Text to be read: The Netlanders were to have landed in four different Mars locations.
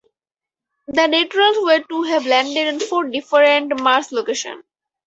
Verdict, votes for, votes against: rejected, 0, 4